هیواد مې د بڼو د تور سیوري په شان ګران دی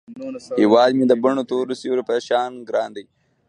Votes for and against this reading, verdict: 1, 2, rejected